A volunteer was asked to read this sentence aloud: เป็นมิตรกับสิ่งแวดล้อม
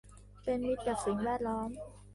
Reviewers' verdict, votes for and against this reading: accepted, 2, 1